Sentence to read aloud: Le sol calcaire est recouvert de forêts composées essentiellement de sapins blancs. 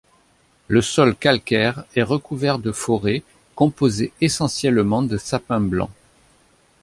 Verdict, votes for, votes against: accepted, 2, 0